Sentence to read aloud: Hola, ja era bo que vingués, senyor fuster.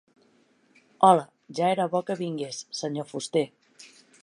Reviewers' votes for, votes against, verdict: 2, 0, accepted